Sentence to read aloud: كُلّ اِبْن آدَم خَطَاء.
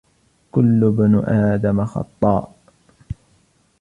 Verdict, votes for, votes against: rejected, 0, 2